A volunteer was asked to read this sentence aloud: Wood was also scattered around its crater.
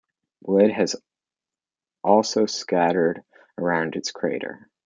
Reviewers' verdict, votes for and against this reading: rejected, 0, 2